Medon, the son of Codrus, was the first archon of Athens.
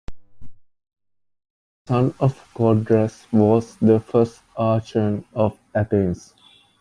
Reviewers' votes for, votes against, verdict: 0, 2, rejected